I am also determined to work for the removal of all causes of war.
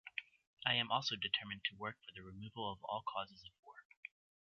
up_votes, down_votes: 0, 2